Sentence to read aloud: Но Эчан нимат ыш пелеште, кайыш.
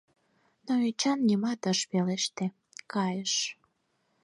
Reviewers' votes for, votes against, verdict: 4, 2, accepted